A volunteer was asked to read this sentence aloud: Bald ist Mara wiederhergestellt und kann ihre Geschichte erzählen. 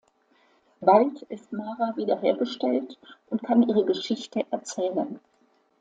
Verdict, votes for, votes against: accepted, 2, 0